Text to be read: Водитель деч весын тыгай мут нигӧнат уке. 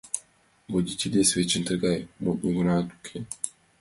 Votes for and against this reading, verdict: 0, 2, rejected